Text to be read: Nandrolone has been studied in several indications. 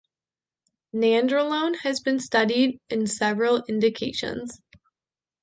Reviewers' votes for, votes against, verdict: 2, 0, accepted